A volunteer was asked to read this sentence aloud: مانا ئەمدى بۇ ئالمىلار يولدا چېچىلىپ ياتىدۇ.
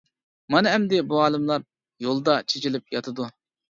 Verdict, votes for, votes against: rejected, 0, 2